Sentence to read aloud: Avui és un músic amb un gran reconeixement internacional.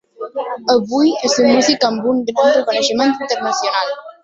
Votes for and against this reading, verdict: 0, 3, rejected